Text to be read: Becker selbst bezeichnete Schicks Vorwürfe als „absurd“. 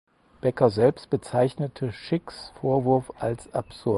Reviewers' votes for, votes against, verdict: 2, 4, rejected